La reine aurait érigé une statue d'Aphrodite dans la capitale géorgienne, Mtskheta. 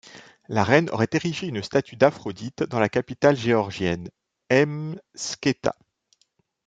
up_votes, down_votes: 1, 2